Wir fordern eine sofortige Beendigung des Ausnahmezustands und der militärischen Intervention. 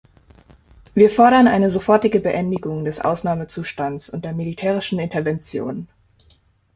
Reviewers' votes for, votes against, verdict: 2, 0, accepted